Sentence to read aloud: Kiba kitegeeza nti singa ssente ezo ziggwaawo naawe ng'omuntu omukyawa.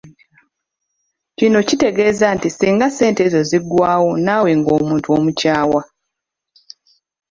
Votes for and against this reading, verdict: 1, 2, rejected